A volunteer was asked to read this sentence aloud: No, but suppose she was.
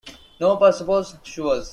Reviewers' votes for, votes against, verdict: 2, 0, accepted